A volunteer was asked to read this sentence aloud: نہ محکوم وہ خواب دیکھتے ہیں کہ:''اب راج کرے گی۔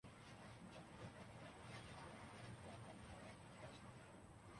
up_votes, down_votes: 2, 1